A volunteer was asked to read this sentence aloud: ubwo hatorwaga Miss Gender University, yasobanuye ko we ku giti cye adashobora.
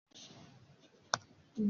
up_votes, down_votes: 0, 2